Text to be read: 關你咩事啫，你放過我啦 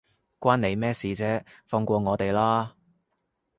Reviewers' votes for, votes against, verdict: 0, 2, rejected